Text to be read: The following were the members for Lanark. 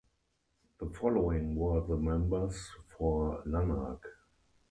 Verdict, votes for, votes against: rejected, 0, 4